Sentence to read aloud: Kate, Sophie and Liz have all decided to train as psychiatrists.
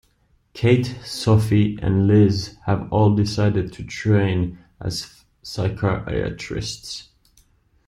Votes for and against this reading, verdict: 1, 2, rejected